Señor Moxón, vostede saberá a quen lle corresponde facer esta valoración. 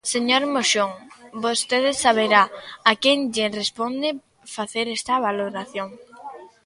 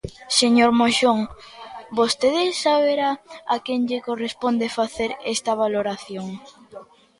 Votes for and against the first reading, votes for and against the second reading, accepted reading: 0, 2, 2, 0, second